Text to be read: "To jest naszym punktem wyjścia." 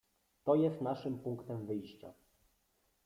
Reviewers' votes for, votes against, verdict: 1, 2, rejected